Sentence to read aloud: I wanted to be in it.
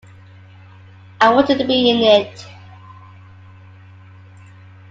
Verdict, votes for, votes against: accepted, 2, 1